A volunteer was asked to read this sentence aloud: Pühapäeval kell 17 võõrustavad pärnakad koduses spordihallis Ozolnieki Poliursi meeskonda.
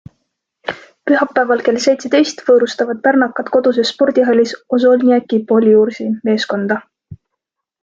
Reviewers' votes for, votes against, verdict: 0, 2, rejected